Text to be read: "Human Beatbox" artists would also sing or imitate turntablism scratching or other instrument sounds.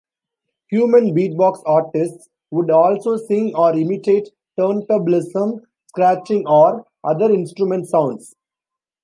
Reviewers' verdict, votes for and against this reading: accepted, 2, 0